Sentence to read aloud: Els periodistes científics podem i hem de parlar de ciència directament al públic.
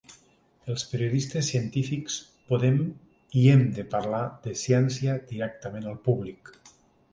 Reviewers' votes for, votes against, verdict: 3, 0, accepted